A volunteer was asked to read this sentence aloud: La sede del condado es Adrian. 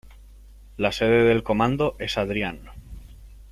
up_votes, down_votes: 0, 2